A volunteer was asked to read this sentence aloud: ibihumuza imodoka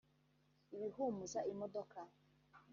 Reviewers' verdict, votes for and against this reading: rejected, 1, 2